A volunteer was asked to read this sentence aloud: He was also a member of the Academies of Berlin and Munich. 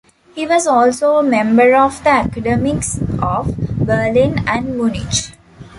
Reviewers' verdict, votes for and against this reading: rejected, 0, 2